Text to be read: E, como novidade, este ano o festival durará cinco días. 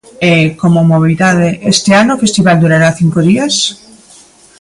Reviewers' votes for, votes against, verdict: 0, 3, rejected